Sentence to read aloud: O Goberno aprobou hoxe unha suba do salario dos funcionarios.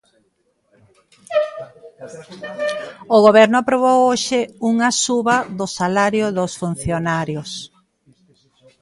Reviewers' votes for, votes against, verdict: 1, 2, rejected